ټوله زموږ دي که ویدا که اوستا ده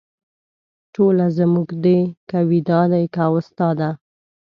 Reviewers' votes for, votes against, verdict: 1, 2, rejected